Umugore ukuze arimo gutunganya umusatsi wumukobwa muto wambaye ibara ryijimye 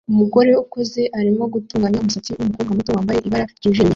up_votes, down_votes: 1, 2